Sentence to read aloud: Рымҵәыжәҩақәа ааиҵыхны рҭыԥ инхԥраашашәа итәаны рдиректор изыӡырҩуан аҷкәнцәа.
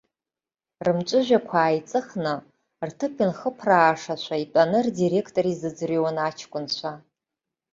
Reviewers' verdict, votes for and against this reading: accepted, 2, 0